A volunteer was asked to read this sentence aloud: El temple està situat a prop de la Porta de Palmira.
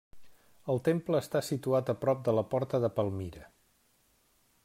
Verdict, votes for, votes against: accepted, 3, 0